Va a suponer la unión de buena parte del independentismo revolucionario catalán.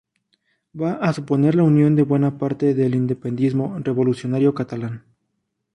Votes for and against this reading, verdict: 0, 2, rejected